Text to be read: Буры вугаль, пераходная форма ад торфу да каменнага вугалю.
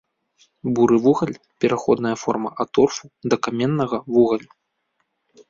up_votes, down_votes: 2, 0